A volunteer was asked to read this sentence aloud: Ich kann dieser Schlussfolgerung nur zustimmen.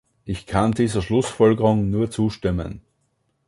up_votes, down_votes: 2, 0